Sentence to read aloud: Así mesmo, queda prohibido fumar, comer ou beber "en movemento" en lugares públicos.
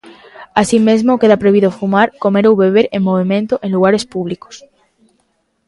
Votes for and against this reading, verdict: 2, 0, accepted